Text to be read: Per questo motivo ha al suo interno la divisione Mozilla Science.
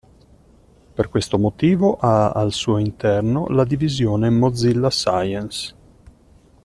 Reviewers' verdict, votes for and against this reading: accepted, 2, 0